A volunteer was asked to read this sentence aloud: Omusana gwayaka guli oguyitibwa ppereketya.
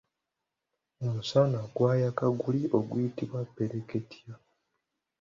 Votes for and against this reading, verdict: 3, 1, accepted